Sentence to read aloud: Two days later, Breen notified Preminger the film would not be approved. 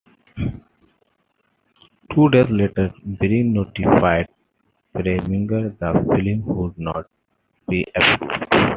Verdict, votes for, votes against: rejected, 1, 2